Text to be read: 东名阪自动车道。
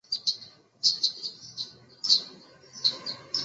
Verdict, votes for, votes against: rejected, 0, 2